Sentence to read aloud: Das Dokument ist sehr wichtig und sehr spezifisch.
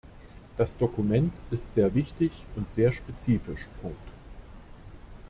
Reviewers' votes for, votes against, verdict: 0, 2, rejected